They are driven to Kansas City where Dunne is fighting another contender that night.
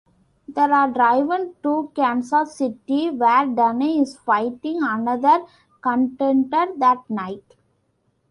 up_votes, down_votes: 0, 2